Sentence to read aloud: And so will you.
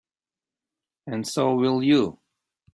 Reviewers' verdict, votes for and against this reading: accepted, 2, 0